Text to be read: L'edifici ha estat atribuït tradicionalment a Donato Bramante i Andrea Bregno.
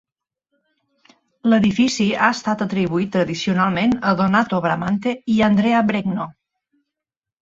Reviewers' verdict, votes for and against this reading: accepted, 2, 0